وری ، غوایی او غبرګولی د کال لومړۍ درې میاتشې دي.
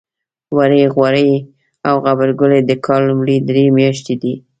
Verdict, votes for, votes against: rejected, 0, 2